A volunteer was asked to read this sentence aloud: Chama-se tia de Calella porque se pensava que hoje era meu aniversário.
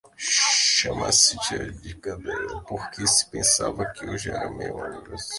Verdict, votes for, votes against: rejected, 0, 2